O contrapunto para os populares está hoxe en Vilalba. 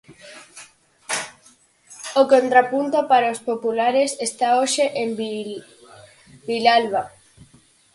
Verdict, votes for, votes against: rejected, 0, 4